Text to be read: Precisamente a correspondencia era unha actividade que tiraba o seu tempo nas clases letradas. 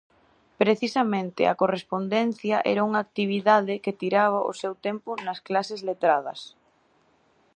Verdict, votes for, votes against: accepted, 2, 0